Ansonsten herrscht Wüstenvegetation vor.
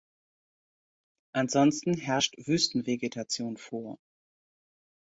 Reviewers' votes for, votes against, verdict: 2, 0, accepted